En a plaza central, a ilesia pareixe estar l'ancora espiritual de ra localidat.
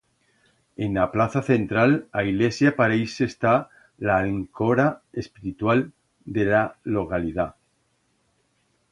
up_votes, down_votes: 2, 0